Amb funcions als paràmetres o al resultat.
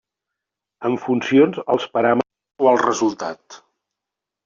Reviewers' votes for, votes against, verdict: 0, 2, rejected